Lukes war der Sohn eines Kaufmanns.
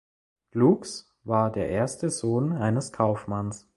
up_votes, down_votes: 0, 3